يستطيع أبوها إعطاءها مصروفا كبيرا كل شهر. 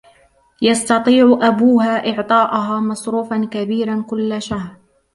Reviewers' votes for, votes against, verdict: 0, 2, rejected